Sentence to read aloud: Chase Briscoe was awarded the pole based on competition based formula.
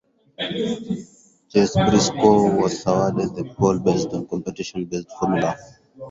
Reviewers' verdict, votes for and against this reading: rejected, 0, 4